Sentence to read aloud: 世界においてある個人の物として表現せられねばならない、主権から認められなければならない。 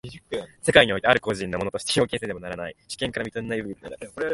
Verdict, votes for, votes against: accepted, 2, 0